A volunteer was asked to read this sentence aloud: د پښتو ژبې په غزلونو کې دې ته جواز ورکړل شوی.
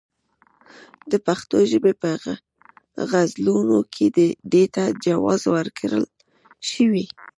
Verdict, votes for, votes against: rejected, 1, 2